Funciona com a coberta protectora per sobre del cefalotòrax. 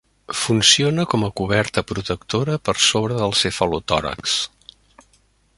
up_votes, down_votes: 3, 0